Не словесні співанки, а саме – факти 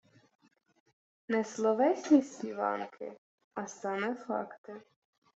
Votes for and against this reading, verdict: 0, 2, rejected